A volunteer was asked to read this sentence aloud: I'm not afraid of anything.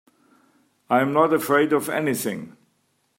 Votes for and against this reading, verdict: 2, 0, accepted